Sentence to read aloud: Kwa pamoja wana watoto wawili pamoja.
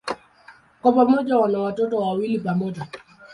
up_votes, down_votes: 2, 0